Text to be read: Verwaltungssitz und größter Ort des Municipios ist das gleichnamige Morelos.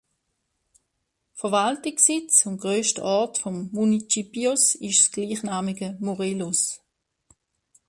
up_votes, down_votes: 0, 2